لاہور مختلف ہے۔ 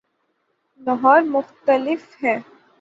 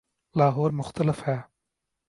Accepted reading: second